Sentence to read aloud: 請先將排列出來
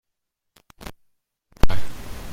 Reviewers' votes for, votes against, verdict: 0, 2, rejected